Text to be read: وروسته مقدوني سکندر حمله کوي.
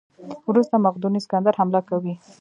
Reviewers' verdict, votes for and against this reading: rejected, 0, 2